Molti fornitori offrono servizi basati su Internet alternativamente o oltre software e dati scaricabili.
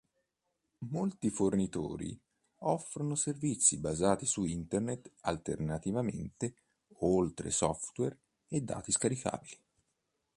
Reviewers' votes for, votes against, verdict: 2, 0, accepted